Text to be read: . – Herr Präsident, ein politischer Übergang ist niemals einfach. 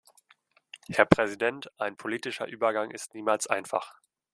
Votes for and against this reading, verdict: 2, 0, accepted